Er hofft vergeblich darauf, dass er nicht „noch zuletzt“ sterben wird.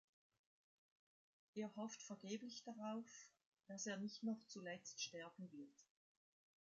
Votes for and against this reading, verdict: 2, 0, accepted